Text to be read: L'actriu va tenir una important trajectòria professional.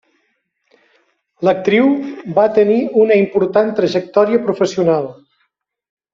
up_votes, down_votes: 3, 0